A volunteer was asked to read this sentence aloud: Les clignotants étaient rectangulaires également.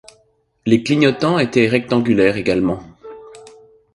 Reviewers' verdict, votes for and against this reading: accepted, 2, 0